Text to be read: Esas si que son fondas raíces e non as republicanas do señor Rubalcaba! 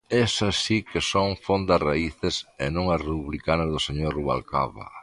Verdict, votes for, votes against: rejected, 0, 2